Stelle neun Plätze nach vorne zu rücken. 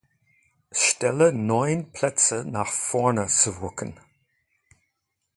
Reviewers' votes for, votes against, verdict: 2, 0, accepted